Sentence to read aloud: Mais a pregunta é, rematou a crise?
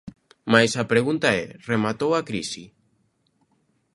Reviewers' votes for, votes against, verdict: 0, 2, rejected